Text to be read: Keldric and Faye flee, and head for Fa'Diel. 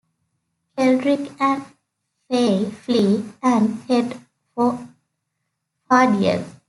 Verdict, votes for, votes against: accepted, 2, 0